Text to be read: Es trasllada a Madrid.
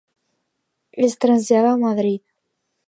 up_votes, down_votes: 2, 0